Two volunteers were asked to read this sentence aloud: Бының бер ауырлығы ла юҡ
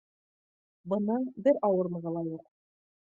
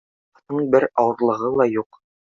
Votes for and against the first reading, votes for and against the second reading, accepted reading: 2, 0, 1, 2, first